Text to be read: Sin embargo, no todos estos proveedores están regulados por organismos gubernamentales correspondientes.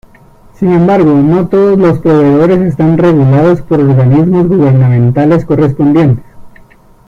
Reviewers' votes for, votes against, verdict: 0, 2, rejected